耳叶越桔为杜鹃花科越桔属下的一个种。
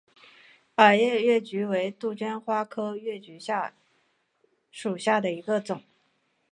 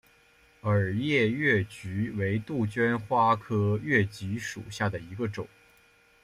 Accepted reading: second